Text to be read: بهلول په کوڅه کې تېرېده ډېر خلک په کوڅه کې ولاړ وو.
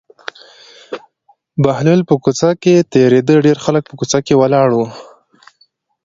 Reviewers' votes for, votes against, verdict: 2, 0, accepted